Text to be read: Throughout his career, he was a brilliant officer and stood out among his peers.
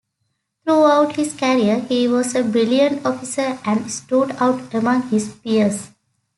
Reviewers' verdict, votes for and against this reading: accepted, 2, 0